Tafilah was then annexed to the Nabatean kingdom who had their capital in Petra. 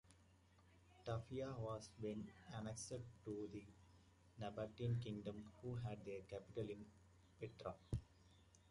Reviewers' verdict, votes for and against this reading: rejected, 0, 2